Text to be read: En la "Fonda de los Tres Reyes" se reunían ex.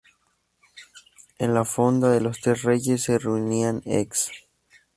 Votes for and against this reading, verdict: 2, 0, accepted